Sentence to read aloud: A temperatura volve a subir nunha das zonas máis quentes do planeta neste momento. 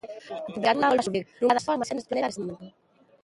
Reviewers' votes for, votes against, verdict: 0, 2, rejected